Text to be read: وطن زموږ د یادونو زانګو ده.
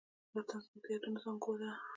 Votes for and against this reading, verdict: 2, 0, accepted